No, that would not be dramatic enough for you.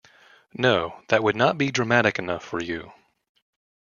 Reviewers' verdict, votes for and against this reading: accepted, 2, 0